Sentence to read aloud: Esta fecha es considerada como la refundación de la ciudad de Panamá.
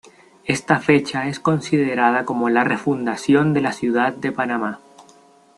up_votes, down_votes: 2, 0